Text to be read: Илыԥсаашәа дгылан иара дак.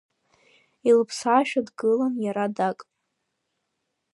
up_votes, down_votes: 2, 0